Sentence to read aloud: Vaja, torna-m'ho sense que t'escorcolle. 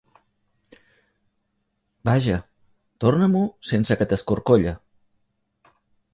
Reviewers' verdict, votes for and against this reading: accepted, 2, 0